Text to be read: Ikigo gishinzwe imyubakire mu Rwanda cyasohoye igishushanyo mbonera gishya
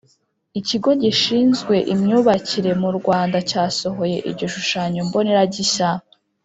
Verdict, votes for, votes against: accepted, 3, 0